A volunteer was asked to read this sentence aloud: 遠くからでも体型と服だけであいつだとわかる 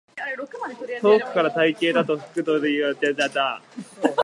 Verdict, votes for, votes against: rejected, 0, 2